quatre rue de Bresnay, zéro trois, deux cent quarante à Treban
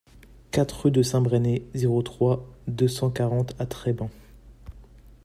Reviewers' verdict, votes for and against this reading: rejected, 1, 2